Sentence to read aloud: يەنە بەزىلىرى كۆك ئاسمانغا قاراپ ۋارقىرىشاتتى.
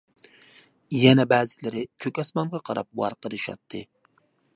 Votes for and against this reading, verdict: 2, 0, accepted